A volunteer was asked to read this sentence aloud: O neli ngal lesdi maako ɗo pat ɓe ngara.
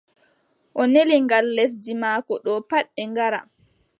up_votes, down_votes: 2, 0